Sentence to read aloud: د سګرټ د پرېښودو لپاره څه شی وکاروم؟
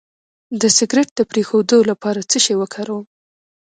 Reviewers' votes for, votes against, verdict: 2, 0, accepted